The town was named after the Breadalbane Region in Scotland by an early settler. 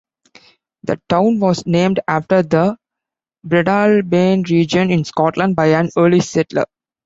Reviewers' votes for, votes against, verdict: 1, 2, rejected